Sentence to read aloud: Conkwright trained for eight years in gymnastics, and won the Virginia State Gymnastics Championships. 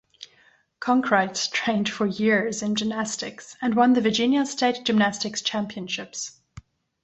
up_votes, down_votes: 1, 2